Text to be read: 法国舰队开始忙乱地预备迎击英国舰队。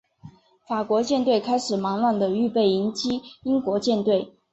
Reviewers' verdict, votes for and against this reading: accepted, 2, 1